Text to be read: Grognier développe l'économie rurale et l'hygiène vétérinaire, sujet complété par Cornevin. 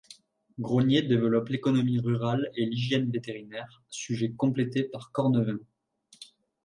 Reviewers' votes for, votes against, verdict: 1, 2, rejected